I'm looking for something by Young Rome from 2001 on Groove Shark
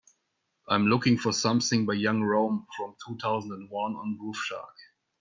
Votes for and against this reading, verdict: 0, 2, rejected